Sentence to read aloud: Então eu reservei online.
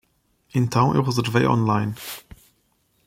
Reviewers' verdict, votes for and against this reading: rejected, 1, 2